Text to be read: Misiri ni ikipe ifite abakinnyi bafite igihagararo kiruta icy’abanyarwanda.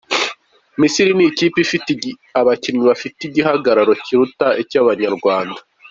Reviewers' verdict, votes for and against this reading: accepted, 2, 0